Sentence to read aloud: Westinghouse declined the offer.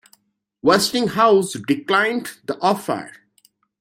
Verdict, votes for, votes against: accepted, 2, 0